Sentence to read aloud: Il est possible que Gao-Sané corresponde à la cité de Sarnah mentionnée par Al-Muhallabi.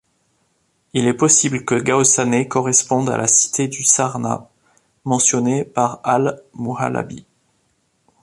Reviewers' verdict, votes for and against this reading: rejected, 1, 2